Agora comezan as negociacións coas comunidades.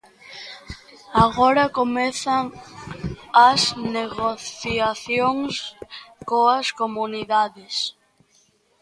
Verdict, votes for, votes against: rejected, 0, 2